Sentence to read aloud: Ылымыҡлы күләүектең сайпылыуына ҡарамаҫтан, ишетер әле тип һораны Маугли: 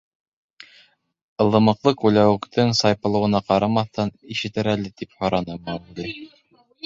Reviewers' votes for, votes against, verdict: 1, 2, rejected